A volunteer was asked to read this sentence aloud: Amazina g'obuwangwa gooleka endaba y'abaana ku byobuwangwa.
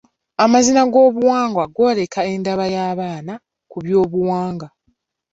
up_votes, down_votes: 2, 1